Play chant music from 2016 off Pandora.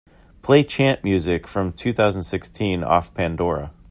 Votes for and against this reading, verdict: 0, 2, rejected